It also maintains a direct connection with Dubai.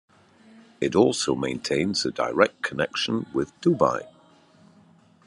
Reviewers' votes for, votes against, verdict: 2, 0, accepted